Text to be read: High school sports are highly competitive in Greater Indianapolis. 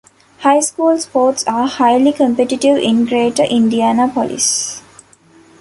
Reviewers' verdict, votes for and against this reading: accepted, 2, 1